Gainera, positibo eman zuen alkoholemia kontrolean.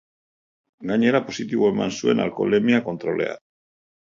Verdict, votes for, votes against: accepted, 2, 0